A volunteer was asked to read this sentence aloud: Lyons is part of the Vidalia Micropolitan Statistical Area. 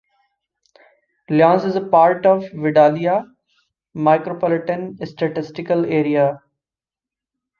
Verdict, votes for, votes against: accepted, 2, 0